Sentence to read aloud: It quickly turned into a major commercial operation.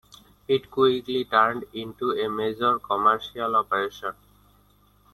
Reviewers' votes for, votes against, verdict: 1, 2, rejected